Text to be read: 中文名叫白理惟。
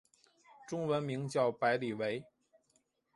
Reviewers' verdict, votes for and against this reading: accepted, 2, 0